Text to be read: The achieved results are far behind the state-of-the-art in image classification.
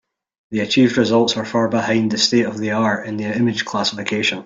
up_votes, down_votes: 3, 0